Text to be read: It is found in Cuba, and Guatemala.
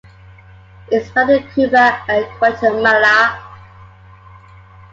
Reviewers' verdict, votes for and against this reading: accepted, 2, 0